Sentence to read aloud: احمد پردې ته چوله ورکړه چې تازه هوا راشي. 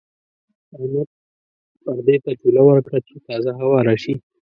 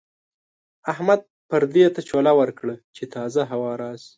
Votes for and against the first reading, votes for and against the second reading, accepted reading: 0, 2, 2, 0, second